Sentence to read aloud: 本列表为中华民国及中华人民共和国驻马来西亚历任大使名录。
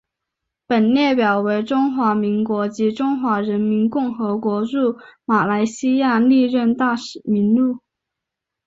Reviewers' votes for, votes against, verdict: 3, 0, accepted